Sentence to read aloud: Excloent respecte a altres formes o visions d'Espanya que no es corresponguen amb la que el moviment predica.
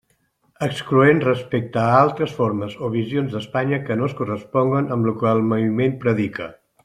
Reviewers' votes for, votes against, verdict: 1, 2, rejected